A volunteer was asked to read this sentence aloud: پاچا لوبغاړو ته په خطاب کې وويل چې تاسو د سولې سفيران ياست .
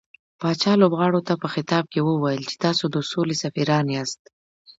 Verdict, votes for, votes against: accepted, 2, 0